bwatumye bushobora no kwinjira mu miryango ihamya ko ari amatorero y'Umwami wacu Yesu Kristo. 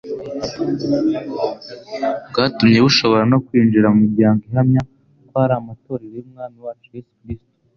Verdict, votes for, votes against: accepted, 3, 0